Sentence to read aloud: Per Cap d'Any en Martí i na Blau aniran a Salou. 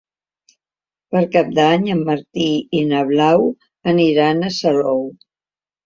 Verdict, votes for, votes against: accepted, 4, 0